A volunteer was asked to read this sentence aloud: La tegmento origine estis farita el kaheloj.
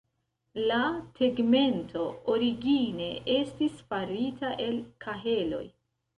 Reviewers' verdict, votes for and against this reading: rejected, 1, 2